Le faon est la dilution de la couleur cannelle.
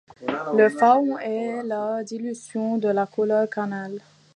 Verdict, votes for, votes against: rejected, 0, 2